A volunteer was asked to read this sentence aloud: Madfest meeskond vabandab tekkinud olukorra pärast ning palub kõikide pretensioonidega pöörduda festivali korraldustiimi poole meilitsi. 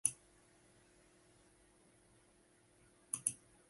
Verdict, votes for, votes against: rejected, 0, 2